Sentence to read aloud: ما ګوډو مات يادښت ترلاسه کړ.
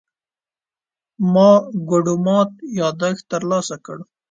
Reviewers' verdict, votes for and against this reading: accepted, 2, 0